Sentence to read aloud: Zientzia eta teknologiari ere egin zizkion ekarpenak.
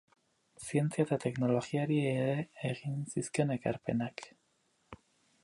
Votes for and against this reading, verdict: 4, 0, accepted